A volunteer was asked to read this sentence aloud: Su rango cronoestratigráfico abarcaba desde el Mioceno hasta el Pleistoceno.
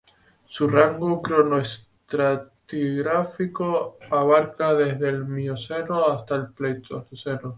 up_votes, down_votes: 2, 2